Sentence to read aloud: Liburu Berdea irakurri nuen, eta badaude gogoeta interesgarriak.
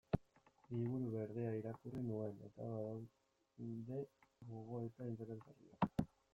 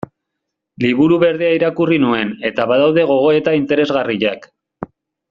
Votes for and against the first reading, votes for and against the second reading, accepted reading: 0, 2, 2, 0, second